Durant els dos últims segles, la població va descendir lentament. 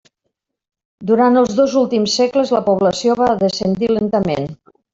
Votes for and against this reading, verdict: 3, 0, accepted